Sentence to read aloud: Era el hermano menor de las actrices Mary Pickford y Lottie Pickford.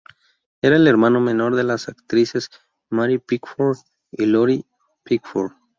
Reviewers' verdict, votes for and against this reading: rejected, 2, 2